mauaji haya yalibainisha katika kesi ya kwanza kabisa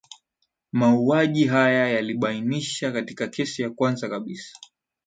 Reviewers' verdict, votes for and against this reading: accepted, 2, 0